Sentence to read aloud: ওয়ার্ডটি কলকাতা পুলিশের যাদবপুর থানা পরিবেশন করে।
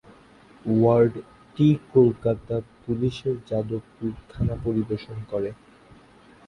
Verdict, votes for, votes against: rejected, 0, 2